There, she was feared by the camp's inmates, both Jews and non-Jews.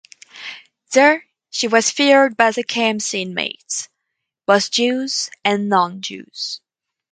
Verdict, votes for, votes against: rejected, 2, 2